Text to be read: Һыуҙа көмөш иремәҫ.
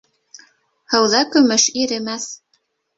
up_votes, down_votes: 2, 0